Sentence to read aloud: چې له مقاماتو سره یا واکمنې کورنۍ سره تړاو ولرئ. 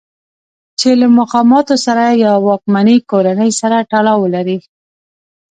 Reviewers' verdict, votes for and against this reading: accepted, 2, 0